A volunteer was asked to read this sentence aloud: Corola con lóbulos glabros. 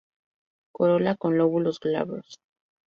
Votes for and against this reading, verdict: 0, 2, rejected